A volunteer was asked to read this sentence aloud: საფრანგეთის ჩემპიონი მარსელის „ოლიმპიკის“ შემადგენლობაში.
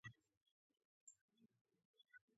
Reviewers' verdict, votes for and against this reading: rejected, 0, 2